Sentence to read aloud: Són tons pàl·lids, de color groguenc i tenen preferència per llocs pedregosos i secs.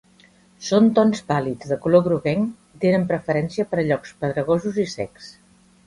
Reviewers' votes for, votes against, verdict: 1, 2, rejected